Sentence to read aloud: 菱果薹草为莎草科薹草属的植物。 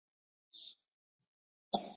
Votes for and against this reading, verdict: 2, 0, accepted